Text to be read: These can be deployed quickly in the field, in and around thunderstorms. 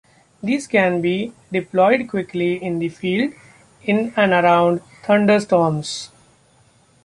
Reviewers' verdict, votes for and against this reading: accepted, 2, 0